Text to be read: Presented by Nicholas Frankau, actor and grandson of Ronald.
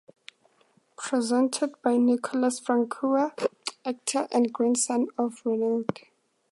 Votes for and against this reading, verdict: 2, 0, accepted